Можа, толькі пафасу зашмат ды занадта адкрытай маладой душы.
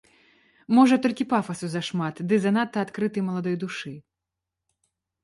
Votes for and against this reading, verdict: 2, 0, accepted